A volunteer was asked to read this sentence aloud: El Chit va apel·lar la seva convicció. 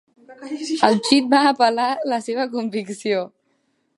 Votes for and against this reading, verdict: 2, 0, accepted